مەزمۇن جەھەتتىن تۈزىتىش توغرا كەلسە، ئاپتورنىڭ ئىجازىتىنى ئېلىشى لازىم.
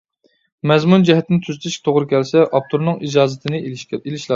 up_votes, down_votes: 0, 2